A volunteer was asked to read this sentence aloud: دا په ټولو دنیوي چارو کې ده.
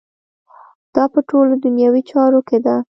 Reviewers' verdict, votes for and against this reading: rejected, 1, 2